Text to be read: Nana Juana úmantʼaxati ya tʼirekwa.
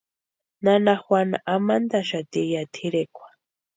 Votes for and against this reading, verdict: 0, 2, rejected